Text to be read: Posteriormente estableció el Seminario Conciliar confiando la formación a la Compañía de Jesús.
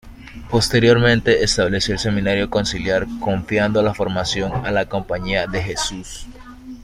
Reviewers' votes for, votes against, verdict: 2, 0, accepted